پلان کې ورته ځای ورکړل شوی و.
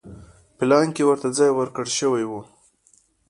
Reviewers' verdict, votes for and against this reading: accepted, 2, 0